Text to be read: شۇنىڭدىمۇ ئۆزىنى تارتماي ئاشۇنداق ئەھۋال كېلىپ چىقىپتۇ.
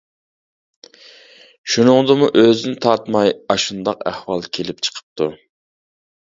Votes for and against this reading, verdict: 2, 0, accepted